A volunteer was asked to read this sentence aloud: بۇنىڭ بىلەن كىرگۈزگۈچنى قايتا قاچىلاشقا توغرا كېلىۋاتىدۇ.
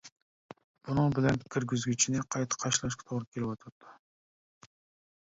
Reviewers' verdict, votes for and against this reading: rejected, 0, 2